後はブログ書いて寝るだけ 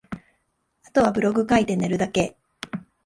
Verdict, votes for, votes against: accepted, 2, 0